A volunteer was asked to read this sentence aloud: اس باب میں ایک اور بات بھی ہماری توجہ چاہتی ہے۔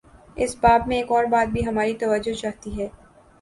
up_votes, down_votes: 5, 0